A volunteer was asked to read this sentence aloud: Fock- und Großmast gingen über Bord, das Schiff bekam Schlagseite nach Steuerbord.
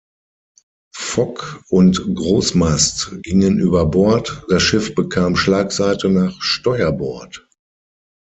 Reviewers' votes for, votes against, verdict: 6, 0, accepted